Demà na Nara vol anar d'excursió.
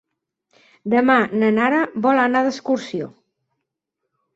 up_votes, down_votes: 6, 0